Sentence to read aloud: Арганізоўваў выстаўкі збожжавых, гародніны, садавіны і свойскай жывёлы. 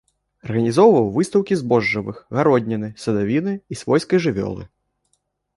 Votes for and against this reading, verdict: 1, 2, rejected